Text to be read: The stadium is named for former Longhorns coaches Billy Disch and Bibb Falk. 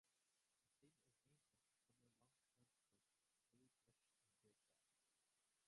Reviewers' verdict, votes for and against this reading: rejected, 0, 2